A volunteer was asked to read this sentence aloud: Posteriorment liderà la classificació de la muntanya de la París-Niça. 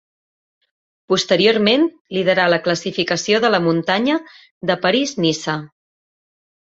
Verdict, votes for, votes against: rejected, 1, 2